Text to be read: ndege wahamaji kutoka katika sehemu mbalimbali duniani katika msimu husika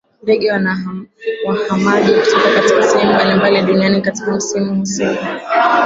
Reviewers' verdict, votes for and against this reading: rejected, 0, 2